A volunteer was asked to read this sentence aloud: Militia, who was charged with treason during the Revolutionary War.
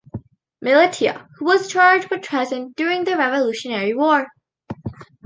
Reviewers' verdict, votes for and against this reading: rejected, 1, 2